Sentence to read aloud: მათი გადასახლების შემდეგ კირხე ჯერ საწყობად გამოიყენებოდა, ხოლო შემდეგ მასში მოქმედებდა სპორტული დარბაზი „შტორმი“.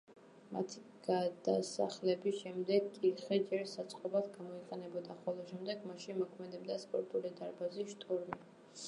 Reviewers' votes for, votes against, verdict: 1, 2, rejected